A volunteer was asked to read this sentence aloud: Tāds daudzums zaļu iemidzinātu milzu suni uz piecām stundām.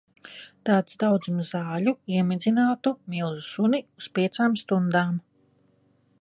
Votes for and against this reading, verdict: 2, 1, accepted